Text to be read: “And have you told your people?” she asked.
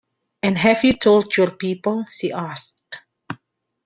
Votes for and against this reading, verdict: 2, 1, accepted